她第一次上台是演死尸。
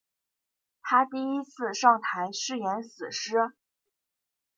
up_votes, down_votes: 2, 0